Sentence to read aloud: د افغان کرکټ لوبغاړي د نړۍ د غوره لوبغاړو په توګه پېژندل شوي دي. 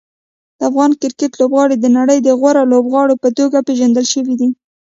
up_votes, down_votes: 0, 2